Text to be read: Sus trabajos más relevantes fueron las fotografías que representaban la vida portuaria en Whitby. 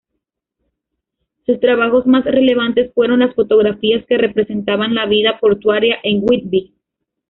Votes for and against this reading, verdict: 1, 2, rejected